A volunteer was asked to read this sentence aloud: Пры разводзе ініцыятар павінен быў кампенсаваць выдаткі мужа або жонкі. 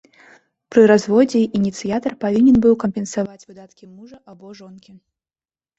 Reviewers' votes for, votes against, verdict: 2, 0, accepted